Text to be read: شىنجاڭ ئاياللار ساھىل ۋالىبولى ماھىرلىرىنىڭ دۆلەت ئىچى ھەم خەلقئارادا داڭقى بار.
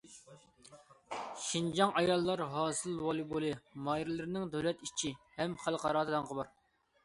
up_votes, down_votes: 0, 2